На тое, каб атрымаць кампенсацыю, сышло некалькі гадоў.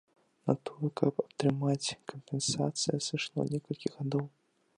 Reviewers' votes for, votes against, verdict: 0, 2, rejected